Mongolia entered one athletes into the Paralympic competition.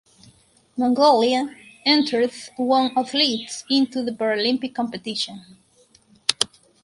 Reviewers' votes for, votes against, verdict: 4, 0, accepted